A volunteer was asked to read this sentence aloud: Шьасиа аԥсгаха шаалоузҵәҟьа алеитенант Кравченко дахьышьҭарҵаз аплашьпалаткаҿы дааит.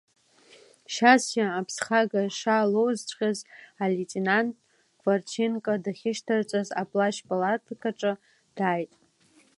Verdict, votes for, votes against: accepted, 2, 1